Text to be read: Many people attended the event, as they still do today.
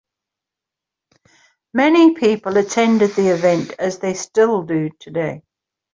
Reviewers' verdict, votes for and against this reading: accepted, 2, 0